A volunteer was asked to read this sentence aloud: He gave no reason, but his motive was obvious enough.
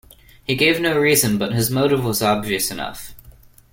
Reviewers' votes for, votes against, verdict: 2, 0, accepted